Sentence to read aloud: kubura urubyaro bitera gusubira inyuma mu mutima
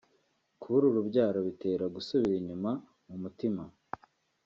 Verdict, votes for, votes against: accepted, 2, 0